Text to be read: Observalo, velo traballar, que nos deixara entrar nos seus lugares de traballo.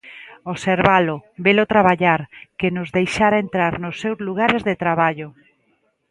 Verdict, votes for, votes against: accepted, 2, 0